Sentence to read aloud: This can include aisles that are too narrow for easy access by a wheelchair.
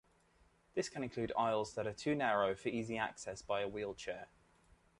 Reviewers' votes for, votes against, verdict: 2, 0, accepted